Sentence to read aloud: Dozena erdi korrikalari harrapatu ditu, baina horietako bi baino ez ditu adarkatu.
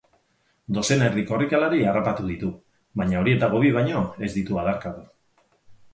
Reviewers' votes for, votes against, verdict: 4, 0, accepted